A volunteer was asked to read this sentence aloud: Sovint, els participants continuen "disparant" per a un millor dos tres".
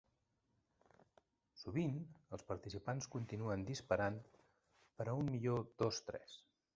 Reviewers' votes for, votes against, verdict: 1, 2, rejected